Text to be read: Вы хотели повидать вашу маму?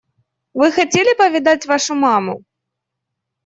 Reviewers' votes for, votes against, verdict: 2, 0, accepted